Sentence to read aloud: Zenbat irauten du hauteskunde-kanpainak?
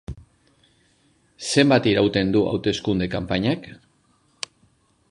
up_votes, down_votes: 2, 0